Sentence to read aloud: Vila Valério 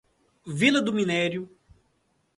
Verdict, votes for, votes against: rejected, 1, 2